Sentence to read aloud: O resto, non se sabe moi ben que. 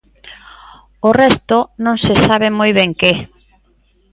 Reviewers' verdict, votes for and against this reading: accepted, 2, 0